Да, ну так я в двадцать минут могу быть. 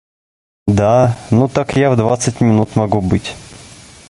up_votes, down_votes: 2, 0